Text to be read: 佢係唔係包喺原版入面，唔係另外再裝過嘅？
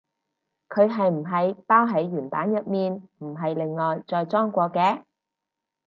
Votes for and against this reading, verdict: 4, 0, accepted